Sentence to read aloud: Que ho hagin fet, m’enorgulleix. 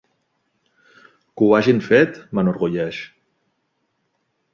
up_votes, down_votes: 3, 1